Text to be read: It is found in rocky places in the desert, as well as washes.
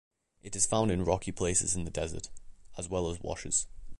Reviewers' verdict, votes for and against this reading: accepted, 2, 0